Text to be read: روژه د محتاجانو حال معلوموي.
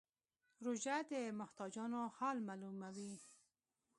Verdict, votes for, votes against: accepted, 2, 0